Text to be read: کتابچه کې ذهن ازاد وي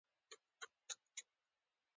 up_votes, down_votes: 0, 2